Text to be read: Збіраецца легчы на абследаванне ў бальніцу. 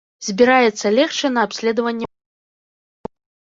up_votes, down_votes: 0, 2